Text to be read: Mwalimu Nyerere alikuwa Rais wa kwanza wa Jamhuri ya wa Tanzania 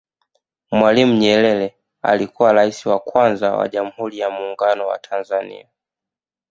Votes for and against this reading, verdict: 0, 2, rejected